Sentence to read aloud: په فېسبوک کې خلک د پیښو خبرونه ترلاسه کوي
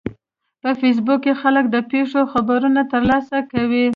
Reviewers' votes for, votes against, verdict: 2, 0, accepted